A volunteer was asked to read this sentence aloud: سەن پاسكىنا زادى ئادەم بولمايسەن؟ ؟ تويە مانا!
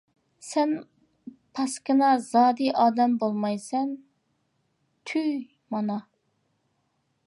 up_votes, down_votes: 0, 2